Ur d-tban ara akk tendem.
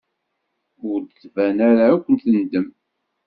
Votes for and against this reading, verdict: 1, 2, rejected